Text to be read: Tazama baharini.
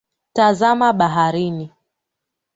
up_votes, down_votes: 2, 0